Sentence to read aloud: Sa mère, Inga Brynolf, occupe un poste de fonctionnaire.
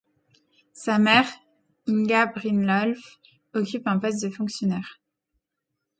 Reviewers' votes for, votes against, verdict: 1, 2, rejected